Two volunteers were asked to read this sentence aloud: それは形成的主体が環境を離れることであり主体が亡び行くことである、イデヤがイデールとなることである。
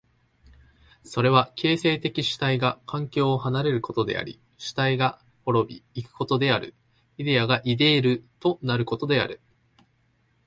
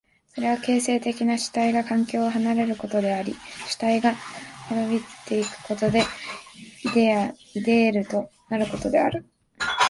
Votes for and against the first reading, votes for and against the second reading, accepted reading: 2, 0, 0, 2, first